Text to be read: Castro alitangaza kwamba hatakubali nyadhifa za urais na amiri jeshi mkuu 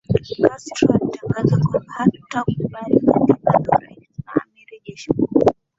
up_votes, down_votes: 2, 2